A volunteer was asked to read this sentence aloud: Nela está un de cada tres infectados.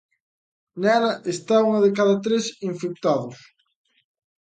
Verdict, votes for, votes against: rejected, 1, 2